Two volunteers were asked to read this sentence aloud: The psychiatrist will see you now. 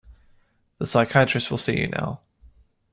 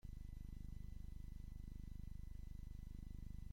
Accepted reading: first